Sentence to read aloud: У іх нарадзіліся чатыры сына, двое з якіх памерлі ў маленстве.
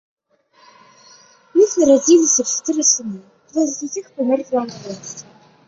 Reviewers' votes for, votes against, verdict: 0, 2, rejected